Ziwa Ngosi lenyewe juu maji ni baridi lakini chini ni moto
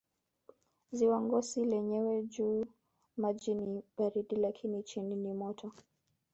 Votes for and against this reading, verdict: 1, 2, rejected